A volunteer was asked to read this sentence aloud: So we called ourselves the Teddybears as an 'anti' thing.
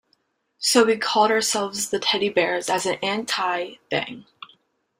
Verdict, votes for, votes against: accepted, 2, 1